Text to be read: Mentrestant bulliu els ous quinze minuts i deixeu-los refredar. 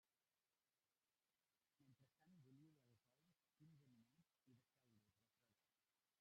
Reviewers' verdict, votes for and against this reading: rejected, 0, 2